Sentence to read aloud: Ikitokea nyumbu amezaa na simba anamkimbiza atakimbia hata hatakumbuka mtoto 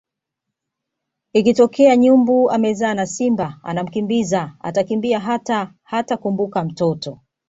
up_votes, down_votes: 2, 0